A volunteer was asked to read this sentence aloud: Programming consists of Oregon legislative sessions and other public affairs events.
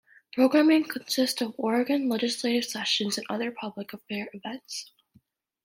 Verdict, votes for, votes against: accepted, 2, 0